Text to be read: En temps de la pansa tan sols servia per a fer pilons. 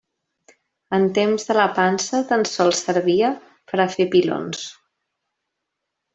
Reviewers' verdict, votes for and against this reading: accepted, 2, 0